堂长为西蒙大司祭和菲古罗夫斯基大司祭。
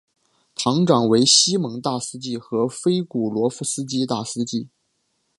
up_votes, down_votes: 3, 0